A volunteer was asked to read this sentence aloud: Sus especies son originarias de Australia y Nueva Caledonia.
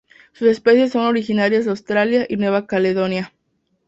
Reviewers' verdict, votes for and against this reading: accepted, 4, 0